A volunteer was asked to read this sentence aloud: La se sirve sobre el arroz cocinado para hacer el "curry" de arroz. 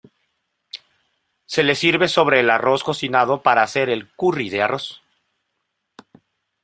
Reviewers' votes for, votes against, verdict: 0, 2, rejected